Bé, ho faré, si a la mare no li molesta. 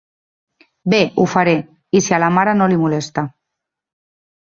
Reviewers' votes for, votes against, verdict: 0, 3, rejected